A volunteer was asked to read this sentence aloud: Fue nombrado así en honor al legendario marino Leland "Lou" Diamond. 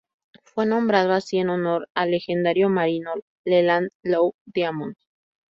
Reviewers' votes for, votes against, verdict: 2, 0, accepted